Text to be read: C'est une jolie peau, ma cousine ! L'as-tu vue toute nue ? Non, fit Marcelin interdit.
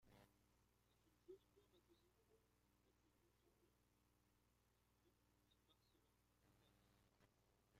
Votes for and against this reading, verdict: 0, 2, rejected